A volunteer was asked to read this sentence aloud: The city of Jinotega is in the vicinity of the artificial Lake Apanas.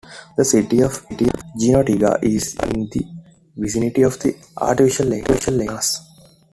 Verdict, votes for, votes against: rejected, 0, 2